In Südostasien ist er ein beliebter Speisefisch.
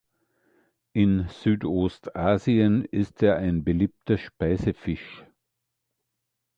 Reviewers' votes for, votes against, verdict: 2, 0, accepted